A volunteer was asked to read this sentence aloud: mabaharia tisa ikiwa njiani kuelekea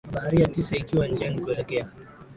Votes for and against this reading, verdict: 12, 7, accepted